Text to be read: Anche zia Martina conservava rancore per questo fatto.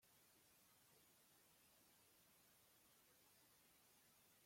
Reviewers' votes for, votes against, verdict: 0, 2, rejected